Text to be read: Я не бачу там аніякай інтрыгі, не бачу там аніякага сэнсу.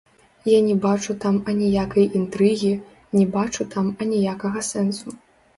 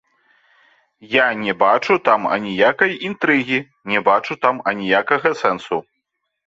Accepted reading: second